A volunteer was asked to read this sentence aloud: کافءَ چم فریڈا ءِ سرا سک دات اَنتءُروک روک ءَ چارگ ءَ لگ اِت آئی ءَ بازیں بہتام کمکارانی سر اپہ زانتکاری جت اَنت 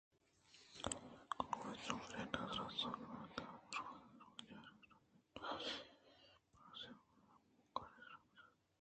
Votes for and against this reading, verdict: 0, 2, rejected